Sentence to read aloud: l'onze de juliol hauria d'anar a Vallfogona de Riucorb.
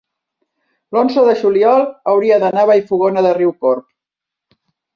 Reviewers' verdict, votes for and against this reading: accepted, 2, 0